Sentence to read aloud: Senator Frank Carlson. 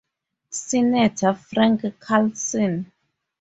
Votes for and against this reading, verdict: 2, 4, rejected